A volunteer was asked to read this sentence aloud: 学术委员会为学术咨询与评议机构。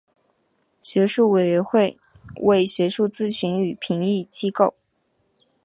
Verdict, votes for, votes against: accepted, 3, 1